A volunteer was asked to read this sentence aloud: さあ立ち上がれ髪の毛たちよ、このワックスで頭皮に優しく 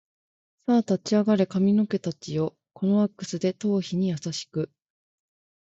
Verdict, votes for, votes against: accepted, 2, 0